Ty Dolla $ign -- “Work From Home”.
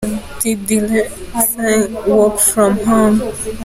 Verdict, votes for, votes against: rejected, 1, 2